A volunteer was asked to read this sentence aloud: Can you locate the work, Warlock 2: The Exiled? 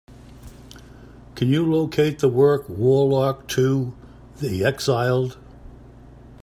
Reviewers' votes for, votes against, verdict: 0, 2, rejected